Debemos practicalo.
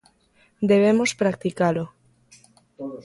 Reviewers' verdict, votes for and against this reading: rejected, 1, 2